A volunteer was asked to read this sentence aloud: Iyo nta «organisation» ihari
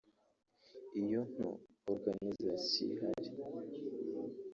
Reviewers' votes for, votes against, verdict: 0, 2, rejected